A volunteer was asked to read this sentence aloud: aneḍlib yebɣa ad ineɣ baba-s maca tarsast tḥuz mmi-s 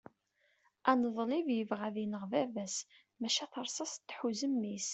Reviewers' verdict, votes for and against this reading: accepted, 2, 0